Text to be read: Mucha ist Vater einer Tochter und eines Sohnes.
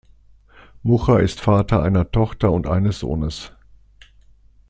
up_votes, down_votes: 2, 0